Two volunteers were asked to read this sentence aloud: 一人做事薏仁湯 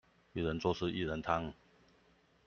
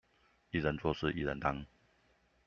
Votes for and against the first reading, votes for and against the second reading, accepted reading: 2, 0, 0, 2, first